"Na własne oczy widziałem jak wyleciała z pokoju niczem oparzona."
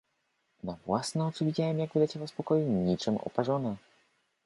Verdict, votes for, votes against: accepted, 2, 0